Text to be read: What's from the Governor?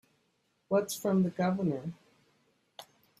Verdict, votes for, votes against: accepted, 3, 0